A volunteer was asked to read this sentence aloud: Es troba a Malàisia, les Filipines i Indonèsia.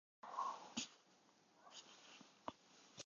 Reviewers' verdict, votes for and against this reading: rejected, 0, 2